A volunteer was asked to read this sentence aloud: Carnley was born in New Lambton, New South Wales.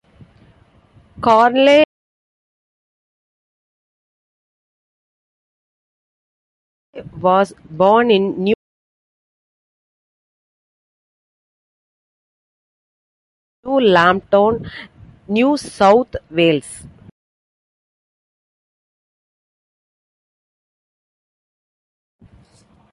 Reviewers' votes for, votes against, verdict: 0, 2, rejected